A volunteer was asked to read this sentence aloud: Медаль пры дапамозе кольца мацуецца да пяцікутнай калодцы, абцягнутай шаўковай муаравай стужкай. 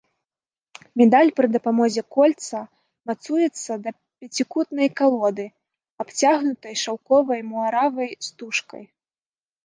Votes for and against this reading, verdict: 1, 2, rejected